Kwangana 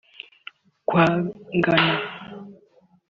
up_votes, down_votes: 2, 0